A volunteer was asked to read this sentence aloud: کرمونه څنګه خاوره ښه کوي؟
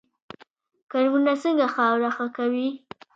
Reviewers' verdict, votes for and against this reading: accepted, 2, 0